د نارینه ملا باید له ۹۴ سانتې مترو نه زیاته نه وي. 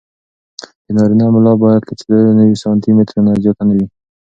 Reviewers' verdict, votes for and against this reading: rejected, 0, 2